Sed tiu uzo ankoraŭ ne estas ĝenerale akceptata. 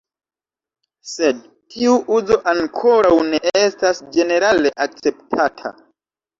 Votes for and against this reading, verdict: 2, 1, accepted